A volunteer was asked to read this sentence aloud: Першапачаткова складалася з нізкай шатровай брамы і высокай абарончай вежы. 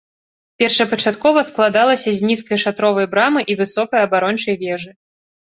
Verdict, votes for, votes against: accepted, 2, 0